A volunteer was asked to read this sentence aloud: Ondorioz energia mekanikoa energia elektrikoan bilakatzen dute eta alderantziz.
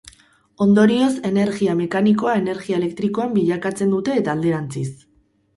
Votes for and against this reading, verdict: 0, 2, rejected